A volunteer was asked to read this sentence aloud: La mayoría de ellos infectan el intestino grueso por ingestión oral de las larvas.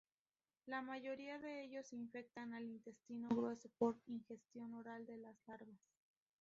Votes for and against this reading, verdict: 0, 4, rejected